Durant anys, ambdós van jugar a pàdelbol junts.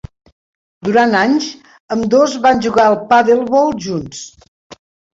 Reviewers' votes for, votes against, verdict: 2, 1, accepted